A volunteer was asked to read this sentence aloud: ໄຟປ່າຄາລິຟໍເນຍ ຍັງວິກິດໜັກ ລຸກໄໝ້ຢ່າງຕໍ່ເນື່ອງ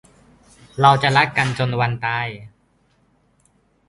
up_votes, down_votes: 0, 2